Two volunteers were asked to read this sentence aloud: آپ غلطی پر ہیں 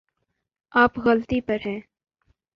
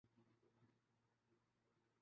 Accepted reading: first